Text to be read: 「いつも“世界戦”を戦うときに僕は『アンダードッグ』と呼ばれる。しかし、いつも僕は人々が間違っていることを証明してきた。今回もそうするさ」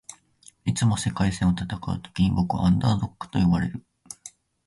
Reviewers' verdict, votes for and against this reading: rejected, 3, 10